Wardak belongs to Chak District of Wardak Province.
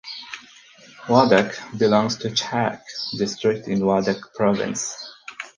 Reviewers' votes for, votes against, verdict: 2, 4, rejected